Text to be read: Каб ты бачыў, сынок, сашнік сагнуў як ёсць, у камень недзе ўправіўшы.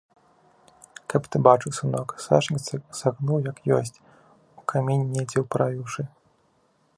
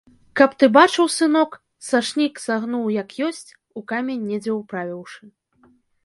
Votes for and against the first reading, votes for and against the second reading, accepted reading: 0, 3, 2, 0, second